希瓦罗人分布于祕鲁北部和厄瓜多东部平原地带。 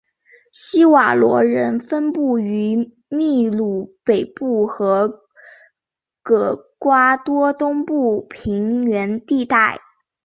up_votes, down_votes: 0, 3